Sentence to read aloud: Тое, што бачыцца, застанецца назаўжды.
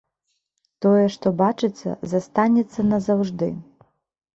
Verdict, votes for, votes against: rejected, 1, 2